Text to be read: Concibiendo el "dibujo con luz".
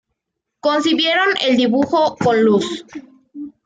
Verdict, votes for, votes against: rejected, 1, 2